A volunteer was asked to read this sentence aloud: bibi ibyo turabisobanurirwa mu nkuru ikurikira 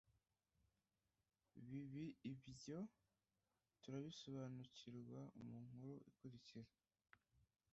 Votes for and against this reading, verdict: 1, 2, rejected